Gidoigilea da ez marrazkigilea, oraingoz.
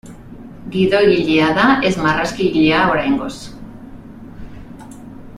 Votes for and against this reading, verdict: 3, 0, accepted